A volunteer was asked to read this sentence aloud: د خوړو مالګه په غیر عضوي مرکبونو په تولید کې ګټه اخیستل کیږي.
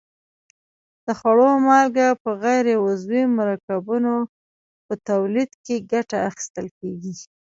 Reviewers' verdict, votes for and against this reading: rejected, 0, 2